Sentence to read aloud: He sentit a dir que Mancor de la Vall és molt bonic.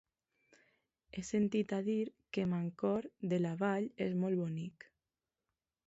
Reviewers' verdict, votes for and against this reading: accepted, 2, 0